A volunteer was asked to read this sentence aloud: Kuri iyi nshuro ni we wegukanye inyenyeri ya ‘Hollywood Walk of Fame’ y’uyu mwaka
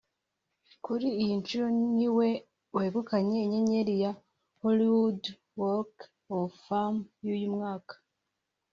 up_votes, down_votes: 3, 1